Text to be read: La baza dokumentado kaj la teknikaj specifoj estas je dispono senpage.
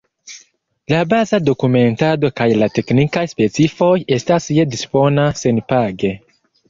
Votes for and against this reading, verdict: 1, 2, rejected